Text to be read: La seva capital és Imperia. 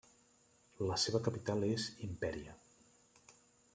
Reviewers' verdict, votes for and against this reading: accepted, 2, 0